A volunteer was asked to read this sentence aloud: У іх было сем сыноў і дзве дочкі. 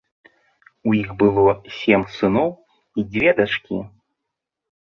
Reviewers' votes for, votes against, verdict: 1, 2, rejected